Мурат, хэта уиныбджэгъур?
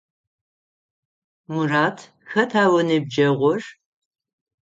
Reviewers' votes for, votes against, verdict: 9, 0, accepted